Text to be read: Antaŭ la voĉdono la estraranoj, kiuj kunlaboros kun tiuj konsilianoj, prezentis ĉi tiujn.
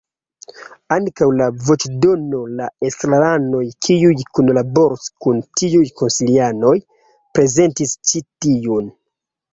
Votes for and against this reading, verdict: 2, 0, accepted